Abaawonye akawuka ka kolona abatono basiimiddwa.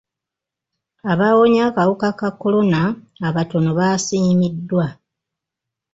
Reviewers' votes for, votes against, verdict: 2, 0, accepted